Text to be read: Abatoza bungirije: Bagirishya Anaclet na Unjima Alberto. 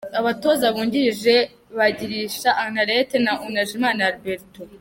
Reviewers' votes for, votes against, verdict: 0, 2, rejected